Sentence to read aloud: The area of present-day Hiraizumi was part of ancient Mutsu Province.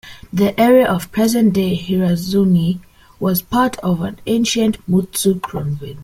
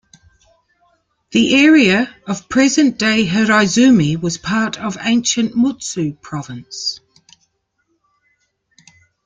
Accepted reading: second